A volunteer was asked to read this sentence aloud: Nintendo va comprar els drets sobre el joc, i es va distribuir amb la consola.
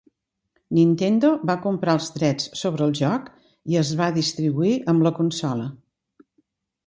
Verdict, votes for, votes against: accepted, 3, 0